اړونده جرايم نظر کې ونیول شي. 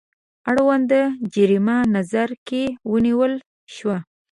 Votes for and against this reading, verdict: 0, 2, rejected